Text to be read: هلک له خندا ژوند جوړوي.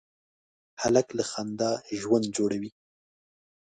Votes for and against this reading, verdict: 2, 0, accepted